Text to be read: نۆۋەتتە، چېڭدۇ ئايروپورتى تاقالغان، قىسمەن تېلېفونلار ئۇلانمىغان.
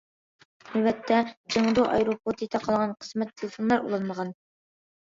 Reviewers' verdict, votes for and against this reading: accepted, 2, 0